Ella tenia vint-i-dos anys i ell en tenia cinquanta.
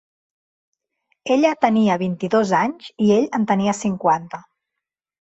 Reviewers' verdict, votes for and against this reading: accepted, 4, 0